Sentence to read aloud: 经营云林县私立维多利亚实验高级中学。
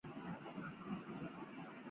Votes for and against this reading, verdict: 0, 2, rejected